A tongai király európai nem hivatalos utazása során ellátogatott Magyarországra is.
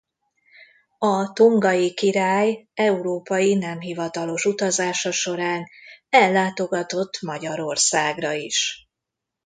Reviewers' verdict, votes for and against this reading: accepted, 2, 0